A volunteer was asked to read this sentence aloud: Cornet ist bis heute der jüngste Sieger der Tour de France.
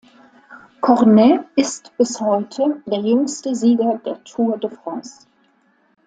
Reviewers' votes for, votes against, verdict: 2, 0, accepted